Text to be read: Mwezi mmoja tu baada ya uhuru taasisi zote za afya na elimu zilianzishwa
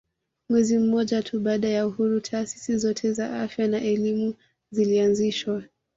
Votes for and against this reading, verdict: 2, 0, accepted